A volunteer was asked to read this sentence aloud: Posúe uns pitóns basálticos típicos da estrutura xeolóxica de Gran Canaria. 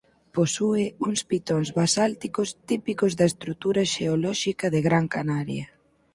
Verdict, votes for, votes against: accepted, 4, 0